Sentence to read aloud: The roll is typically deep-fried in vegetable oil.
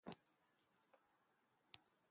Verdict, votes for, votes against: rejected, 1, 2